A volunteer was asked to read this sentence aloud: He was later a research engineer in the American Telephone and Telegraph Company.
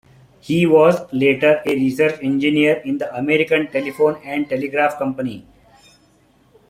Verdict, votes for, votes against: rejected, 0, 2